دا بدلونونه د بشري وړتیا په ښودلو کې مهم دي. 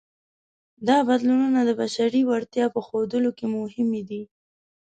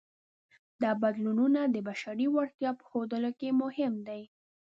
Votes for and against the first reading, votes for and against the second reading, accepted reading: 1, 2, 2, 0, second